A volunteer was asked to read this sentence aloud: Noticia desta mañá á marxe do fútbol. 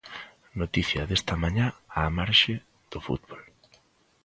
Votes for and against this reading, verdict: 2, 0, accepted